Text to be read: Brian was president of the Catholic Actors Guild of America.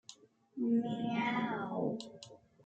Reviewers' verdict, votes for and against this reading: rejected, 0, 2